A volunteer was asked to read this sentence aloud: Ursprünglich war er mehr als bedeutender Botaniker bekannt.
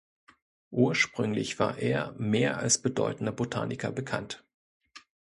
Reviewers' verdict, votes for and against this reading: accepted, 2, 1